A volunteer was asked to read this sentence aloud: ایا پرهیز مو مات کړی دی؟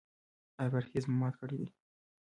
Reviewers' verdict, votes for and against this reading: rejected, 0, 2